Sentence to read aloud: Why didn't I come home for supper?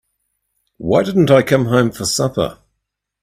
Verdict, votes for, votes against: accepted, 3, 0